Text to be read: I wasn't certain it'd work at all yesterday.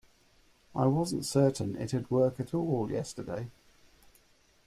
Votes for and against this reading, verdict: 2, 0, accepted